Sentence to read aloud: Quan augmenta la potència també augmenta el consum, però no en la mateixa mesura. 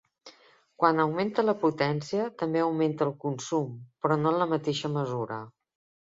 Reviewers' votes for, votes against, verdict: 3, 0, accepted